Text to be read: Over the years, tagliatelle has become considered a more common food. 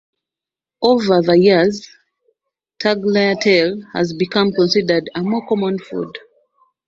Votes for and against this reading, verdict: 2, 0, accepted